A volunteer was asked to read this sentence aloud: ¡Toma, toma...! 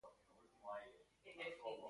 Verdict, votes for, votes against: rejected, 0, 2